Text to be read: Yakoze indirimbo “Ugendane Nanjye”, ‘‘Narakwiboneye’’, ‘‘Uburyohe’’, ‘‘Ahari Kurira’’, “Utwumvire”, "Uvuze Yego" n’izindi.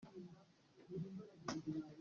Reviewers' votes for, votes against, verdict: 0, 2, rejected